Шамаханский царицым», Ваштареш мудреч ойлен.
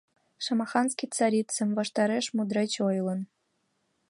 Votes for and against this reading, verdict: 1, 2, rejected